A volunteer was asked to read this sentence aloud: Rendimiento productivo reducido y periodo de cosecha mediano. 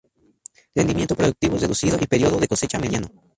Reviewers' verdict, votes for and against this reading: accepted, 2, 0